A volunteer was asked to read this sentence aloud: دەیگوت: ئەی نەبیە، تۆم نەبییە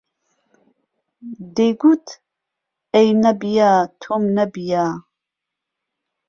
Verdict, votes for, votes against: accepted, 2, 0